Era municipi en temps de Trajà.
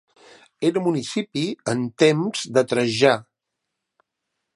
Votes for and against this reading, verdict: 2, 0, accepted